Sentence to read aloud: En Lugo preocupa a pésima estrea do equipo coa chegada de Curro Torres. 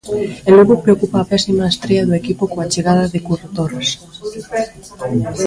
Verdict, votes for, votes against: accepted, 3, 0